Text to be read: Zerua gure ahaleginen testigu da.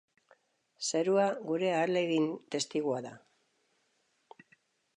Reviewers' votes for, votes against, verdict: 0, 2, rejected